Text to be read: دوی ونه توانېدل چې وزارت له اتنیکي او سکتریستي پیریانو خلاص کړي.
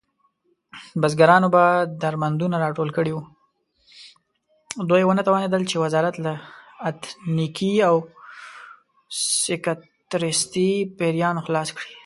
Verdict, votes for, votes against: accepted, 2, 1